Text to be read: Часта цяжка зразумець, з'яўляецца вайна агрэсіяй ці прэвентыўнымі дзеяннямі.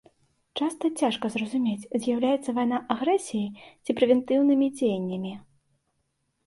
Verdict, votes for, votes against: accepted, 3, 1